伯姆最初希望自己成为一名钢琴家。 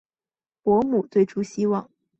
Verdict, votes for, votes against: rejected, 0, 2